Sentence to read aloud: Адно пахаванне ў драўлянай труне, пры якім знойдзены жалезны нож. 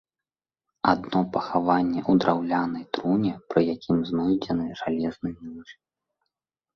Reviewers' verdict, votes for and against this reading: rejected, 1, 2